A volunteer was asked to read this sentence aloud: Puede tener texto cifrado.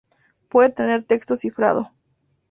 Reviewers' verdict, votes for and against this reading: rejected, 0, 2